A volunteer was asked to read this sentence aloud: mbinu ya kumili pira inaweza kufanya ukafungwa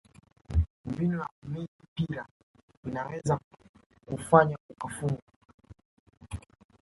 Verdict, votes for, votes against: rejected, 3, 4